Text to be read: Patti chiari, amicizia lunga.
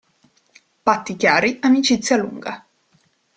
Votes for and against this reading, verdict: 2, 0, accepted